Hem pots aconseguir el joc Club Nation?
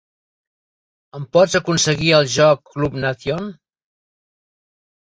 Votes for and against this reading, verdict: 1, 2, rejected